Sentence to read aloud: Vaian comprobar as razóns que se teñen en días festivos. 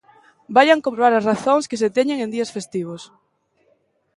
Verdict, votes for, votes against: accepted, 2, 0